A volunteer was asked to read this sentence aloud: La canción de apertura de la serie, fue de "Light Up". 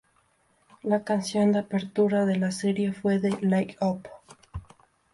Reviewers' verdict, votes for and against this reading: accepted, 2, 0